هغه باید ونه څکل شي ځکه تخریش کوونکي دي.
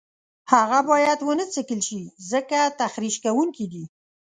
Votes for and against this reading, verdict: 2, 0, accepted